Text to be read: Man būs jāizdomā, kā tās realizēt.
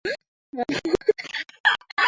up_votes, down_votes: 0, 2